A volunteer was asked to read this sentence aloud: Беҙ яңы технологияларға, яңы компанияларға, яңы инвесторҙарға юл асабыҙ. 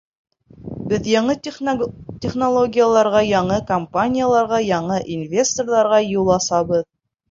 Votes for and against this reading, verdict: 0, 2, rejected